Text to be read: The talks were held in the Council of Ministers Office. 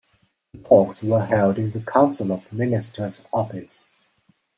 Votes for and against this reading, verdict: 1, 2, rejected